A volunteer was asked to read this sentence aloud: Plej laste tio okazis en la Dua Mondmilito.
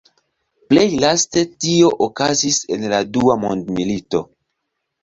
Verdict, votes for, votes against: accepted, 2, 0